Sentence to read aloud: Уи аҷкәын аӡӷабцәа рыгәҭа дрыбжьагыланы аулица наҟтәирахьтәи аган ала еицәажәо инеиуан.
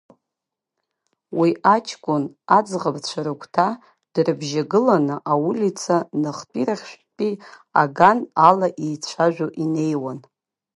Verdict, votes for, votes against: rejected, 0, 2